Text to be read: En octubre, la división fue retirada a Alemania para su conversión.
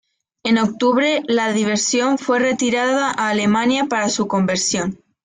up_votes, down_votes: 0, 2